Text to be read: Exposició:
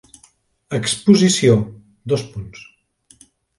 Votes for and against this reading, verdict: 1, 2, rejected